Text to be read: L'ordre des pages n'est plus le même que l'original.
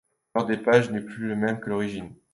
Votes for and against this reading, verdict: 0, 2, rejected